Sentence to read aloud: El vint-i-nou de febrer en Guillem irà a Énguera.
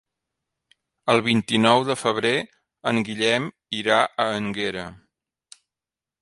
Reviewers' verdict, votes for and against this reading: rejected, 1, 2